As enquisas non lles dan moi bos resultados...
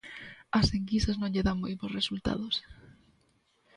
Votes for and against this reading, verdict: 1, 2, rejected